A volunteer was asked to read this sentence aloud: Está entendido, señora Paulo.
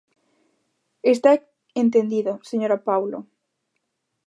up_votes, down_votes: 2, 0